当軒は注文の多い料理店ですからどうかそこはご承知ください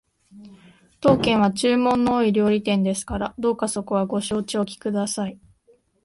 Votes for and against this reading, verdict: 1, 2, rejected